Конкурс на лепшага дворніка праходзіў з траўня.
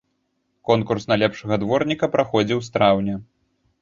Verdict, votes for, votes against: accepted, 3, 0